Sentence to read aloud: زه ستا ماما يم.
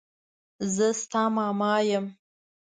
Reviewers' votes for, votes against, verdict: 2, 0, accepted